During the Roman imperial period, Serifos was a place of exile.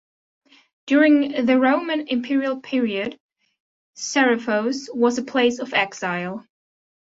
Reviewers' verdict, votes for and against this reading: accepted, 2, 0